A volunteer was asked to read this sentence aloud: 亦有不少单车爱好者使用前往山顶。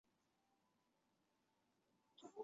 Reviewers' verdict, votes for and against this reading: rejected, 1, 3